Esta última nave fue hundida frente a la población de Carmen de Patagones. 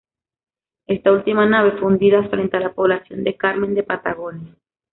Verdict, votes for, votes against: rejected, 1, 2